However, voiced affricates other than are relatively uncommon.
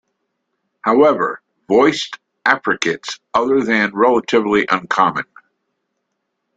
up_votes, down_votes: 1, 2